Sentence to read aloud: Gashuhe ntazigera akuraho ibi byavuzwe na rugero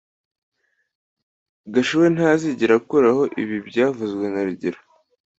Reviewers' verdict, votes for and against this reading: accepted, 2, 0